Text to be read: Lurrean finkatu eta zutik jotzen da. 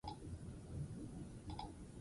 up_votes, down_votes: 0, 6